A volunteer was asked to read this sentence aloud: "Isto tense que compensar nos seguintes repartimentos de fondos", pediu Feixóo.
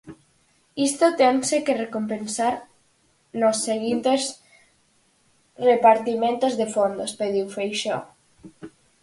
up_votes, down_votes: 0, 4